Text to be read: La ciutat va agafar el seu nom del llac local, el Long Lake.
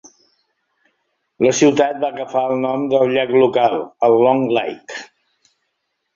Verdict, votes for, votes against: rejected, 0, 2